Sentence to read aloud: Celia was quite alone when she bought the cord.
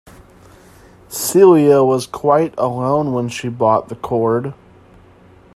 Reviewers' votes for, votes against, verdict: 2, 0, accepted